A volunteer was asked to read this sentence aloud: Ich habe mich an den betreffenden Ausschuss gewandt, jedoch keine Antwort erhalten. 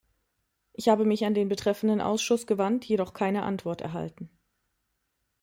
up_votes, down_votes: 2, 0